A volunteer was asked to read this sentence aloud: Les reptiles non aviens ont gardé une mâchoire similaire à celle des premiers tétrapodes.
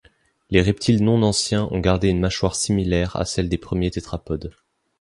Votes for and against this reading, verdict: 1, 2, rejected